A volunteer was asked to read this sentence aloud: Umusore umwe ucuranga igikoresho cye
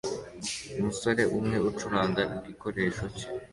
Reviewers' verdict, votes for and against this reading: accepted, 2, 0